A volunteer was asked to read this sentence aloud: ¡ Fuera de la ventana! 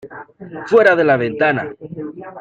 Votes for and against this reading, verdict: 2, 0, accepted